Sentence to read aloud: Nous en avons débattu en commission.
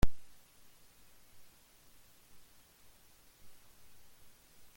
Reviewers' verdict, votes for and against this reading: rejected, 0, 2